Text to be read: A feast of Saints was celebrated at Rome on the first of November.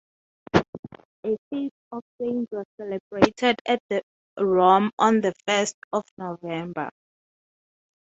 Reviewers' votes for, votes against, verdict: 0, 3, rejected